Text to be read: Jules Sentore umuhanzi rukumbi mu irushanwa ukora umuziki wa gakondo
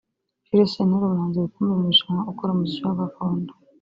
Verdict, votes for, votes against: accepted, 3, 0